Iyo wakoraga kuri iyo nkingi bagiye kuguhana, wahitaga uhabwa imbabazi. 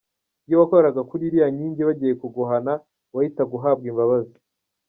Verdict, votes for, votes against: accepted, 2, 1